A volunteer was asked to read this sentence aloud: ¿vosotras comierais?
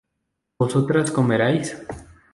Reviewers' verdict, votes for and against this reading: rejected, 0, 2